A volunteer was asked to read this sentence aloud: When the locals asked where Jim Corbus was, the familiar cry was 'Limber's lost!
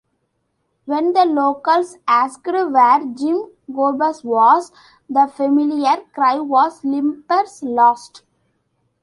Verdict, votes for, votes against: rejected, 1, 2